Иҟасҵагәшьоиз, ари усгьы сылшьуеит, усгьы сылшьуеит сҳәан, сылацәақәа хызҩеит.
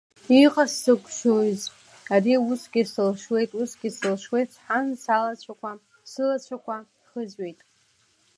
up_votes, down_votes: 0, 2